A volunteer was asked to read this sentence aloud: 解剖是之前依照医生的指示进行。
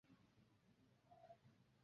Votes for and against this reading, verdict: 0, 3, rejected